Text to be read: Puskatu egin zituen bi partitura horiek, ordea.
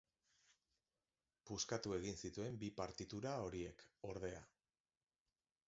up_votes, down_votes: 1, 3